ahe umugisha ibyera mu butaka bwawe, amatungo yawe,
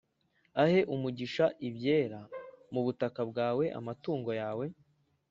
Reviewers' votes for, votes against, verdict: 2, 0, accepted